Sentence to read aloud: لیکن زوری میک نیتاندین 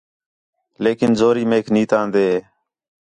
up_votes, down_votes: 4, 0